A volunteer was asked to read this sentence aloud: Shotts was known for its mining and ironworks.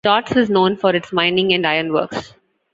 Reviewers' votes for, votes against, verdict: 1, 2, rejected